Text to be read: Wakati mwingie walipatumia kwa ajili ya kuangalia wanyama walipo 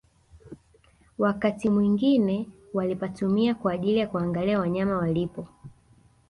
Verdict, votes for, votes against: accepted, 2, 0